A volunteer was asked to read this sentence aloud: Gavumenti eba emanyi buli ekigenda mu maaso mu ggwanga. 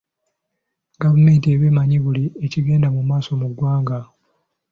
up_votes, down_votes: 3, 0